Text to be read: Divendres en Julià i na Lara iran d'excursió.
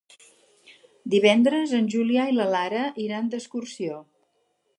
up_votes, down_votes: 0, 4